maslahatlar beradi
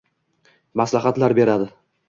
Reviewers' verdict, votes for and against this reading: accepted, 2, 0